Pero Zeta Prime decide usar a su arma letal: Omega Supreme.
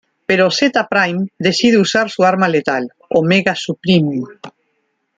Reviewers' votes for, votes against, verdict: 0, 2, rejected